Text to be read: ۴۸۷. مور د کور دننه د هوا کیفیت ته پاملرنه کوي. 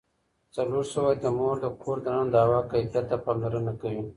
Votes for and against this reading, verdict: 0, 2, rejected